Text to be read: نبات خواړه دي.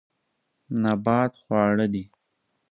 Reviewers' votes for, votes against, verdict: 2, 0, accepted